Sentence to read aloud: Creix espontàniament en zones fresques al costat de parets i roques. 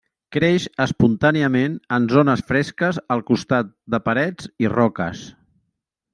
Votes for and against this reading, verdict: 3, 0, accepted